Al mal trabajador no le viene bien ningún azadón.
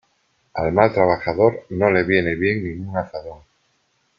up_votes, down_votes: 2, 0